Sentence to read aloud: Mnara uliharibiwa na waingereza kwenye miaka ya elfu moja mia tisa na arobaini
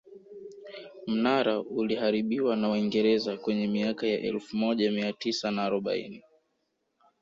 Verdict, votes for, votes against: accepted, 2, 0